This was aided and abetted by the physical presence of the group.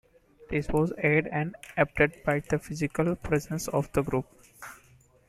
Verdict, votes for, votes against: rejected, 0, 2